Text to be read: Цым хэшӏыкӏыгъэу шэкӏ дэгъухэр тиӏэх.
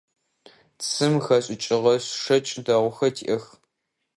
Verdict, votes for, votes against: rejected, 0, 2